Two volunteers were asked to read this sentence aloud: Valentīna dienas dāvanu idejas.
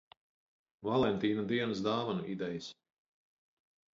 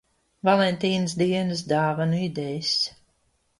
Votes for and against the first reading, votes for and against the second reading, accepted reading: 4, 0, 0, 2, first